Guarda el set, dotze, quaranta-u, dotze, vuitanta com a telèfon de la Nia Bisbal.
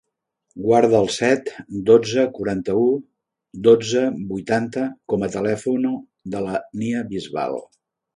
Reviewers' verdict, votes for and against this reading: rejected, 0, 2